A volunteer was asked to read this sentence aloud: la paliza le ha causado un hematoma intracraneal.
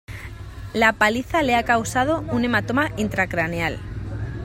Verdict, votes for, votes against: accepted, 2, 0